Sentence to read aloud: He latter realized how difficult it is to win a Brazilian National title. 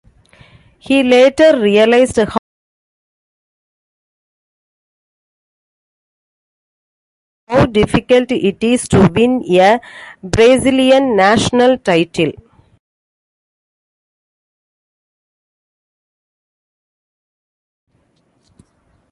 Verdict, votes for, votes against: rejected, 0, 2